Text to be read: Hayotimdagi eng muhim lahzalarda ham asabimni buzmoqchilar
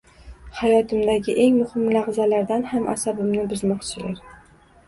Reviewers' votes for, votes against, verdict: 1, 2, rejected